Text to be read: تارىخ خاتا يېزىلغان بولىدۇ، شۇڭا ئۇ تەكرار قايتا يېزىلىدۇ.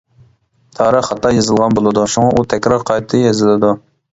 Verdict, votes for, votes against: accepted, 2, 0